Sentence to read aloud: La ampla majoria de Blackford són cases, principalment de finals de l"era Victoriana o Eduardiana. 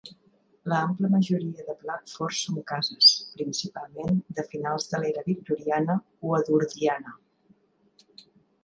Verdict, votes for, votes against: rejected, 0, 2